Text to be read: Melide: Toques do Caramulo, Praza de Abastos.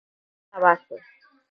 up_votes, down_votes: 0, 6